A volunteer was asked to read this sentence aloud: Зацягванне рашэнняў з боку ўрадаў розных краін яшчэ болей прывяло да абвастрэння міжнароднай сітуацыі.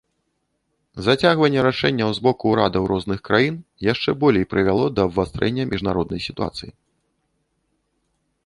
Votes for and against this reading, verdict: 2, 0, accepted